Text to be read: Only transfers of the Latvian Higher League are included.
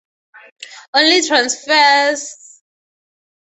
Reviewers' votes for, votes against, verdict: 0, 2, rejected